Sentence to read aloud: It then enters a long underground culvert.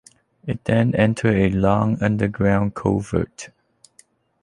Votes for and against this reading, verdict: 2, 0, accepted